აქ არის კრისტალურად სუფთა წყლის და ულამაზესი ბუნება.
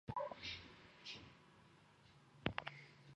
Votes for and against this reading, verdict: 1, 2, rejected